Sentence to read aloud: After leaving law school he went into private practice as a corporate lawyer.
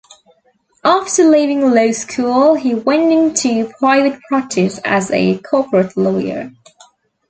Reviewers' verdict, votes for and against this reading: rejected, 0, 2